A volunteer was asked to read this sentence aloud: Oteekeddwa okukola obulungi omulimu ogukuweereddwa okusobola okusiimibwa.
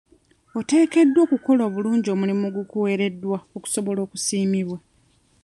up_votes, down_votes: 0, 2